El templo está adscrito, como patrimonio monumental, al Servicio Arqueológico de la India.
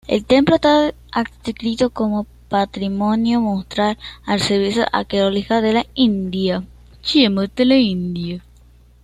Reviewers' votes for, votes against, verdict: 0, 2, rejected